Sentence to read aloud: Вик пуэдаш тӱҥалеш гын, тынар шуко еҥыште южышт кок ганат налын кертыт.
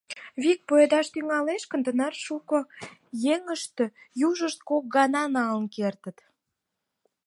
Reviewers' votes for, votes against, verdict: 4, 2, accepted